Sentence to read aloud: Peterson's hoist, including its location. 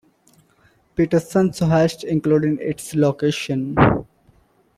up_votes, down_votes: 2, 0